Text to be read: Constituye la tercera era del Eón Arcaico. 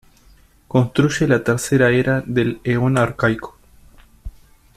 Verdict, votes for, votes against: rejected, 1, 2